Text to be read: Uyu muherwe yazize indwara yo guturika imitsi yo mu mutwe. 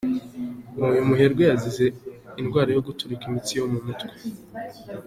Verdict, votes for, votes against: accepted, 2, 0